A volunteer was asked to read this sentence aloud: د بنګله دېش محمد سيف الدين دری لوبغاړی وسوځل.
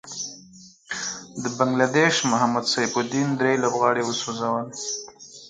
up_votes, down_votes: 4, 2